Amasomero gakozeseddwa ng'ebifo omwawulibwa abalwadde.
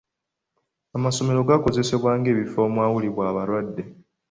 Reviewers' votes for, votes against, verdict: 2, 0, accepted